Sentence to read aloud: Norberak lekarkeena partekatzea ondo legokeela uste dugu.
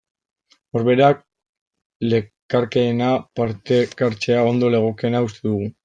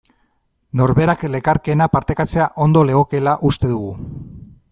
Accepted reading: second